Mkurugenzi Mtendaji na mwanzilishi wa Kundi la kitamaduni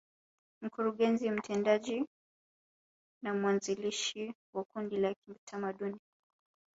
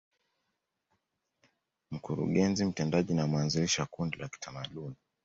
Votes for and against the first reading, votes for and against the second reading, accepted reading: 1, 2, 2, 0, second